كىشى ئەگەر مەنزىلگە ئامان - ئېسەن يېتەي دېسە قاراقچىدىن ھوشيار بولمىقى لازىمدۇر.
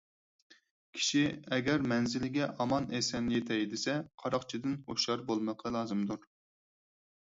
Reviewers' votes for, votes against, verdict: 4, 0, accepted